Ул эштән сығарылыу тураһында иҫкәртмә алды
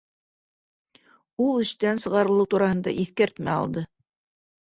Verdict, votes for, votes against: accepted, 2, 0